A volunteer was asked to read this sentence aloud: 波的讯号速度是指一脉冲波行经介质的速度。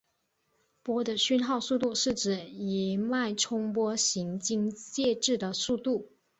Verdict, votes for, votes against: accepted, 3, 1